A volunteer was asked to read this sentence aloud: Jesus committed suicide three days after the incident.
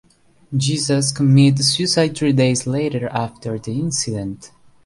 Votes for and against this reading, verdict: 1, 2, rejected